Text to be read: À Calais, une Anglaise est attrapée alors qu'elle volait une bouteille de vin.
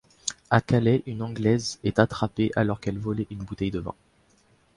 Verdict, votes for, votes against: accepted, 2, 0